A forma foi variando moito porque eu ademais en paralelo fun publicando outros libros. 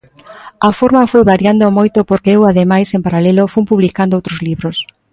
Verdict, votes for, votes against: accepted, 2, 0